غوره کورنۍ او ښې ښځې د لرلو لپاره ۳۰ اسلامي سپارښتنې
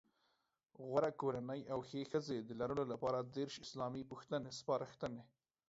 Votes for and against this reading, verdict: 0, 2, rejected